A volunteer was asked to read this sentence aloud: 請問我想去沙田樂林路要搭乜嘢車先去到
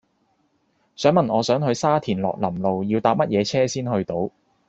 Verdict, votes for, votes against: accepted, 2, 1